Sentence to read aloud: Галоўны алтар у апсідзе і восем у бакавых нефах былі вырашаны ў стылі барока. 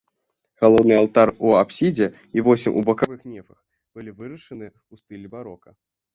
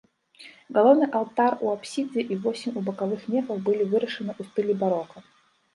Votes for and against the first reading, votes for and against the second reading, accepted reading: 2, 1, 1, 2, first